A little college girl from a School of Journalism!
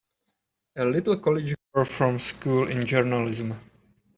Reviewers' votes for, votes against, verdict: 2, 3, rejected